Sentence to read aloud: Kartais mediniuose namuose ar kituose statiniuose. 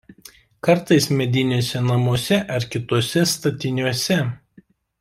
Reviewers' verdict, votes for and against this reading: accepted, 2, 0